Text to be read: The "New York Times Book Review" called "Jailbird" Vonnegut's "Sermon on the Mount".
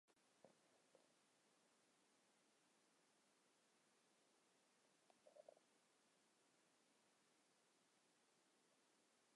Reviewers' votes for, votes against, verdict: 0, 2, rejected